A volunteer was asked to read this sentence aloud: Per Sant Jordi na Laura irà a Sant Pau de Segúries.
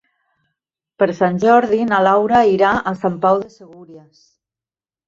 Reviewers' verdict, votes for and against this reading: rejected, 0, 2